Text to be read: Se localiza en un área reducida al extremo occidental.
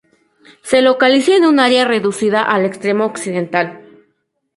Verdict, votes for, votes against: rejected, 0, 2